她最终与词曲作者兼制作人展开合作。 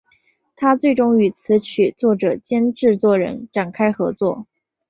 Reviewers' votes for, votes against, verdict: 4, 0, accepted